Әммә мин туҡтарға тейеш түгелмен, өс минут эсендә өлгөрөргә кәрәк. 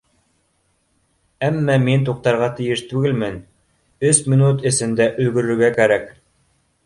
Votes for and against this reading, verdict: 2, 0, accepted